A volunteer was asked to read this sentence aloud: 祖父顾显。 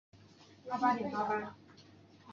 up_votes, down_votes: 0, 2